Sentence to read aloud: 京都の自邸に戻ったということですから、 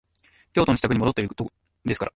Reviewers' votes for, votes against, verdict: 0, 2, rejected